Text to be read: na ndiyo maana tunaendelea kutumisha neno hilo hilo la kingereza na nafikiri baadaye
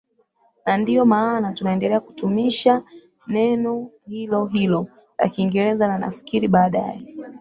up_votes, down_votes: 12, 3